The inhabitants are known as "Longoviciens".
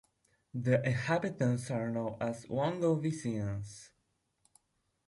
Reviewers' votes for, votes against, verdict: 2, 0, accepted